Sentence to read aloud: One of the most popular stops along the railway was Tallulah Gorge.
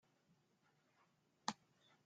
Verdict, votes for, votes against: rejected, 0, 2